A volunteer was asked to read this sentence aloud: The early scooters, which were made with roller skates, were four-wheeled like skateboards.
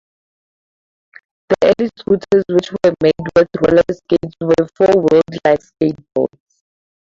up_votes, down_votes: 2, 0